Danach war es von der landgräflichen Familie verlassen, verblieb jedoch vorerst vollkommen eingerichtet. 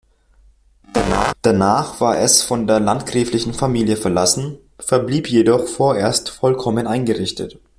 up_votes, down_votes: 1, 2